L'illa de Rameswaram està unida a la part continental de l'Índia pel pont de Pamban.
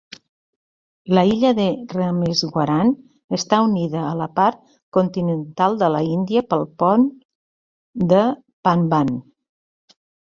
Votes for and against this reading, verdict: 1, 2, rejected